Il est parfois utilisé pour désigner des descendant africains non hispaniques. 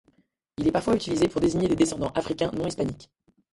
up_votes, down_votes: 1, 2